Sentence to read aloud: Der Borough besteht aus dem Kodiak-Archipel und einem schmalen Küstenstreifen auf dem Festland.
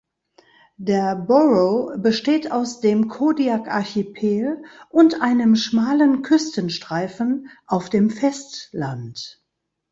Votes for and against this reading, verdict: 2, 0, accepted